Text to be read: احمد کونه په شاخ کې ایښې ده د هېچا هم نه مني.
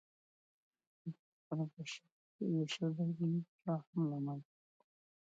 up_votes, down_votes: 0, 2